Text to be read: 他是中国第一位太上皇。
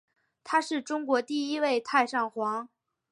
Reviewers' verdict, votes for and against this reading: accepted, 2, 0